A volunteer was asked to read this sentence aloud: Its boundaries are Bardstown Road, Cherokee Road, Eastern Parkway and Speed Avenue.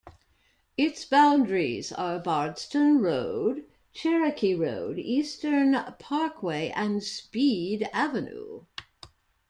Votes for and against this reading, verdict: 2, 0, accepted